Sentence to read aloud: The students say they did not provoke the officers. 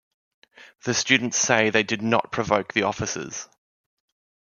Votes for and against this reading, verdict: 2, 0, accepted